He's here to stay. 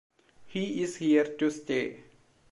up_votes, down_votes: 0, 2